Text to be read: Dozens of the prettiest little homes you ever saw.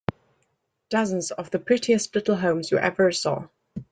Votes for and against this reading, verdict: 2, 0, accepted